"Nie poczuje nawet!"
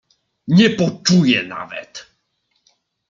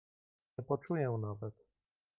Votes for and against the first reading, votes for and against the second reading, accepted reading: 2, 0, 0, 2, first